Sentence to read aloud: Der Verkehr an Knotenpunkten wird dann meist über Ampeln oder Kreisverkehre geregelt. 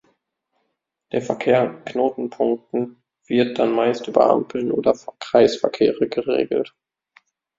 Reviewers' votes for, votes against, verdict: 0, 2, rejected